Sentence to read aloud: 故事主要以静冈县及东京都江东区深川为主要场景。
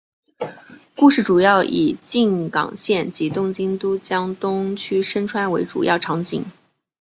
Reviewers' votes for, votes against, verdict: 5, 0, accepted